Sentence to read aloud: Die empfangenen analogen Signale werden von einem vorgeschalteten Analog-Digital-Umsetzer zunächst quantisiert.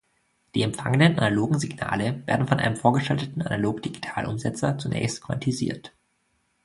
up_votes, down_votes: 1, 2